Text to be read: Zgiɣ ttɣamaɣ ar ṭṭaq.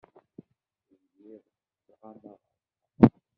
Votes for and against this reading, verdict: 0, 2, rejected